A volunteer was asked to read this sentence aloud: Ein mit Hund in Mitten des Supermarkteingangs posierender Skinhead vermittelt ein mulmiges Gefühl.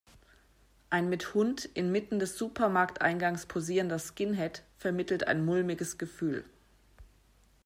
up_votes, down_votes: 2, 0